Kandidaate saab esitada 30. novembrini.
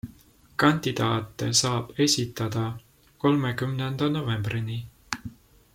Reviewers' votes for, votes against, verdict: 0, 2, rejected